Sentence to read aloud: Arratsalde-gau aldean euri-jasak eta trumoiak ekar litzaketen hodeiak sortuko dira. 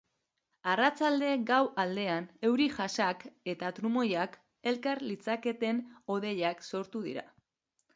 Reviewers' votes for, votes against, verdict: 0, 2, rejected